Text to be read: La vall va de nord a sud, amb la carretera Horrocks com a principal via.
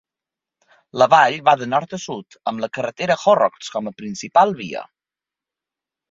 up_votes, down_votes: 3, 0